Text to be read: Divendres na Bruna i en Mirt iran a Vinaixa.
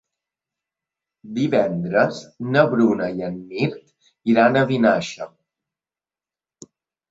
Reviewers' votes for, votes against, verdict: 2, 0, accepted